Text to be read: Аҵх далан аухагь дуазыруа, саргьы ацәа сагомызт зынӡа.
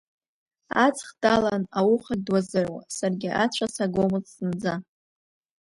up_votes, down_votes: 1, 2